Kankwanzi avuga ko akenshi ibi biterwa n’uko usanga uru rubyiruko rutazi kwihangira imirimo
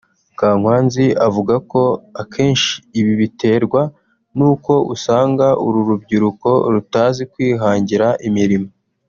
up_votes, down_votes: 1, 2